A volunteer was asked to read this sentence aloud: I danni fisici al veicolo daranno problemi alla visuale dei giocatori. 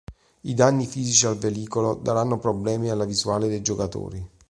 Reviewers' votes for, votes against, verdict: 0, 2, rejected